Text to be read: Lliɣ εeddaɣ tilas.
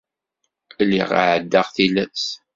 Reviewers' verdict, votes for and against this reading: accepted, 2, 0